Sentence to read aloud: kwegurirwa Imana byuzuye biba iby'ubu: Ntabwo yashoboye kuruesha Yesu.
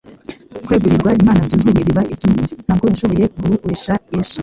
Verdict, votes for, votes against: rejected, 0, 2